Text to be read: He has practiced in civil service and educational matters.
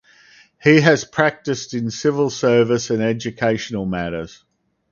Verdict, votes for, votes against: accepted, 4, 0